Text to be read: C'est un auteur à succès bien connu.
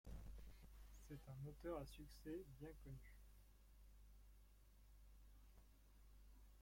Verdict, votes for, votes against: rejected, 0, 2